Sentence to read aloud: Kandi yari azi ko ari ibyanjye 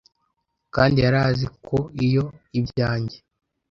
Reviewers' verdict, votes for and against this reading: rejected, 0, 2